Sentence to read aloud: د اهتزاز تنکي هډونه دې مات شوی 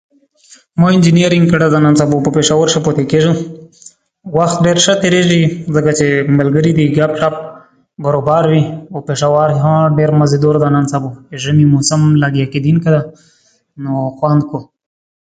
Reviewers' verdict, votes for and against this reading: rejected, 0, 3